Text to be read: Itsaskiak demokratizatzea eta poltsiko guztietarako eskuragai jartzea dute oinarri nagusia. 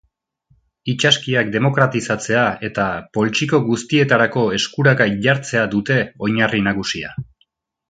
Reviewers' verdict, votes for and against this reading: accepted, 3, 0